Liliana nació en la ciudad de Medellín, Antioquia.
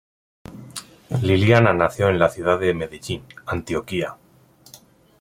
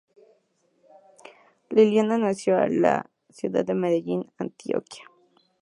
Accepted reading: second